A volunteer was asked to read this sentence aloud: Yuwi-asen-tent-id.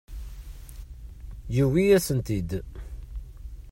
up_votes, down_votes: 0, 2